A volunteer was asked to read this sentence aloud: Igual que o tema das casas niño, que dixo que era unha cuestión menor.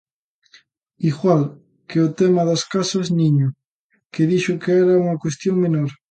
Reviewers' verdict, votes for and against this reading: accepted, 2, 0